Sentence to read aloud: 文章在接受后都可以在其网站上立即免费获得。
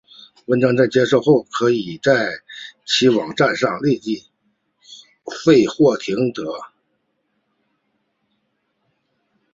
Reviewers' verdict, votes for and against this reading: rejected, 0, 6